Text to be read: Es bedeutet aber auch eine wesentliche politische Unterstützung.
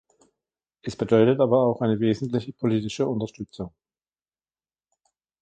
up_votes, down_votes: 2, 3